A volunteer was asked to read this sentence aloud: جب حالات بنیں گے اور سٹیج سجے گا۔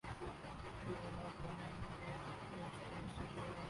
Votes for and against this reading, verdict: 0, 2, rejected